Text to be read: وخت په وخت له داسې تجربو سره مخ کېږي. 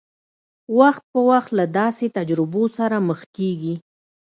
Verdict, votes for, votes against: accepted, 2, 0